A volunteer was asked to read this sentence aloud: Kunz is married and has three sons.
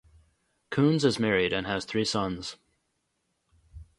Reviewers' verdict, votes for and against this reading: rejected, 2, 2